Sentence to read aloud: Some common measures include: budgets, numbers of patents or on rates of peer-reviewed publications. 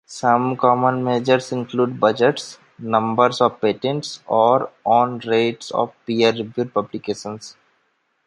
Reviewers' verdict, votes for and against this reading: rejected, 1, 2